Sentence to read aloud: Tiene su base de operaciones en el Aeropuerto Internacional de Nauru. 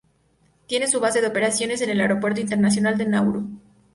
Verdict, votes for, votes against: accepted, 2, 0